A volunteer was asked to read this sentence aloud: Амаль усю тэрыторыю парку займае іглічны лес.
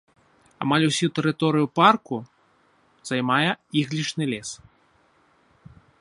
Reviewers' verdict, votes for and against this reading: accepted, 2, 1